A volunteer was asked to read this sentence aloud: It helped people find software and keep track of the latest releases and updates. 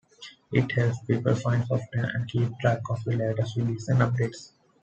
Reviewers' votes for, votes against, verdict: 1, 2, rejected